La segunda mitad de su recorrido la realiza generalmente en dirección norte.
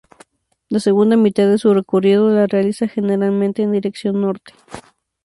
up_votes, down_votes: 2, 0